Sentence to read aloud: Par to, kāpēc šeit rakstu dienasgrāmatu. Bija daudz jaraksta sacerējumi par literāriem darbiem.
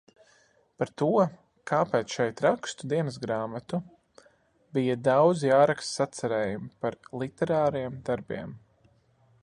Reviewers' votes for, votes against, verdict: 2, 0, accepted